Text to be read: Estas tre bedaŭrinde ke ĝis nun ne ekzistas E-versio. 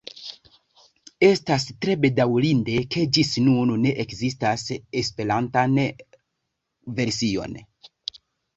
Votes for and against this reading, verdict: 1, 2, rejected